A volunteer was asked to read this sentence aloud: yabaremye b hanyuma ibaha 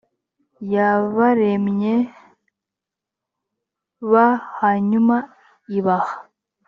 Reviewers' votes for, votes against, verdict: 2, 0, accepted